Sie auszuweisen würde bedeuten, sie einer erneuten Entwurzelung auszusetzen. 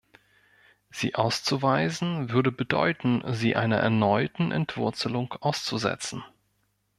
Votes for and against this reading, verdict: 2, 1, accepted